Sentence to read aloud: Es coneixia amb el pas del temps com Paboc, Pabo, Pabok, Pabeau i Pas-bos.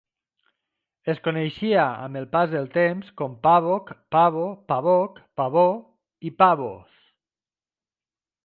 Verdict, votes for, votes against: rejected, 0, 2